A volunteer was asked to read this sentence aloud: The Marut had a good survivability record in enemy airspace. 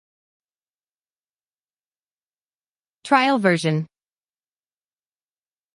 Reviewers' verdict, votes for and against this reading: rejected, 0, 2